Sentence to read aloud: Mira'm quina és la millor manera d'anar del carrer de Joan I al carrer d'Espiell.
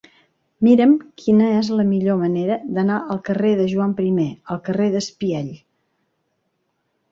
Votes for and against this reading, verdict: 4, 1, accepted